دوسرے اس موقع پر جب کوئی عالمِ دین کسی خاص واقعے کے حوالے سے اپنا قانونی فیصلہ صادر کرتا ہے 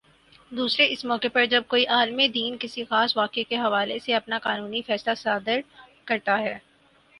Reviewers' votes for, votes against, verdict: 6, 0, accepted